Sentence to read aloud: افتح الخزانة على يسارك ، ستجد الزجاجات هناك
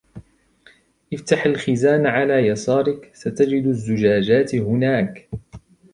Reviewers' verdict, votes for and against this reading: accepted, 2, 0